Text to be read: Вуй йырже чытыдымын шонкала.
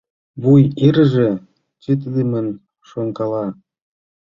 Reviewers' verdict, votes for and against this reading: accepted, 2, 1